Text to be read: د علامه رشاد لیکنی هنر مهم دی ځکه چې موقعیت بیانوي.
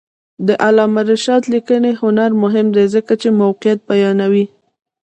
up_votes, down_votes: 0, 2